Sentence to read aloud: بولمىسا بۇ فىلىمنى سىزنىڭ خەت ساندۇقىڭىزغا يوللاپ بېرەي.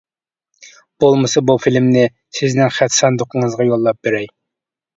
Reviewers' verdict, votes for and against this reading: accepted, 2, 0